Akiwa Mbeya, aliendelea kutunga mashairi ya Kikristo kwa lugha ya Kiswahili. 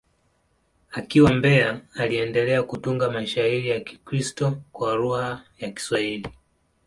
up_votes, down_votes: 2, 0